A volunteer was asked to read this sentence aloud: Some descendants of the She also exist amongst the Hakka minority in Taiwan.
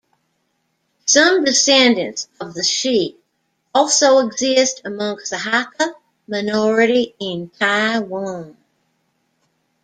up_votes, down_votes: 2, 1